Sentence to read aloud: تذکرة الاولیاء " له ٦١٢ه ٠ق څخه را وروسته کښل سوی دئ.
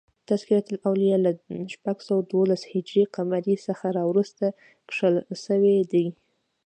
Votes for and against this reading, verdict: 0, 2, rejected